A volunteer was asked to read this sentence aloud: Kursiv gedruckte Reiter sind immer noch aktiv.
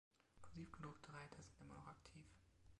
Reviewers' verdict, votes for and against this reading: rejected, 0, 2